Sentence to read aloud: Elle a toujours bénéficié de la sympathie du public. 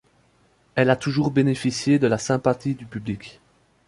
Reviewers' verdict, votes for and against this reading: accepted, 2, 0